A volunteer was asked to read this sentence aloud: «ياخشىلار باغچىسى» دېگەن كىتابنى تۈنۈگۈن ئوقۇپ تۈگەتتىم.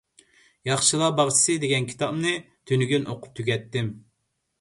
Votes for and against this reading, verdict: 2, 0, accepted